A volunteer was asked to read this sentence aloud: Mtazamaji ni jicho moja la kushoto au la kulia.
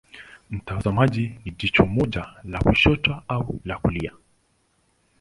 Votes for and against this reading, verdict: 2, 0, accepted